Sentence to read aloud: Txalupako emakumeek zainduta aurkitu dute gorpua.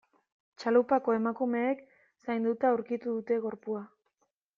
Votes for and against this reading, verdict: 0, 2, rejected